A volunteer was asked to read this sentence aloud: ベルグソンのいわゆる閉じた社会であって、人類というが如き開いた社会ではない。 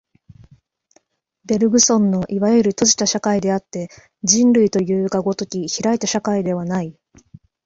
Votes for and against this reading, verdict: 2, 0, accepted